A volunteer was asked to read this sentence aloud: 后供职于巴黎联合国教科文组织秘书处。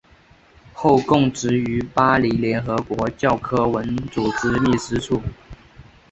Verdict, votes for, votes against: accepted, 3, 0